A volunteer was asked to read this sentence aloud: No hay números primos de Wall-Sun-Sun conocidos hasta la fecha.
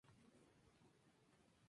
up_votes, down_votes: 0, 2